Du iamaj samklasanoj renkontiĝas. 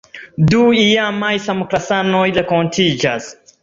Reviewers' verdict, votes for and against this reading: rejected, 0, 2